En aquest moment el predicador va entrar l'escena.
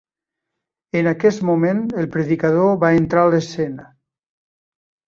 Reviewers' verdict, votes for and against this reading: rejected, 2, 3